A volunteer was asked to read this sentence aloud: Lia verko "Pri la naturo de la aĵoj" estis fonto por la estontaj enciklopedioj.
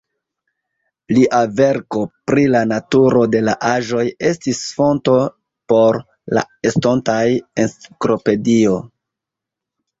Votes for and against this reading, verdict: 1, 2, rejected